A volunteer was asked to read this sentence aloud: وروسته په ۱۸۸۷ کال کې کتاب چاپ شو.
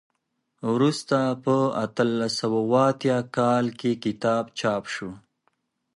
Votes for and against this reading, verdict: 0, 2, rejected